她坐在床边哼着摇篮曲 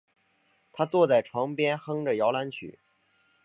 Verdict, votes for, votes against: accepted, 2, 0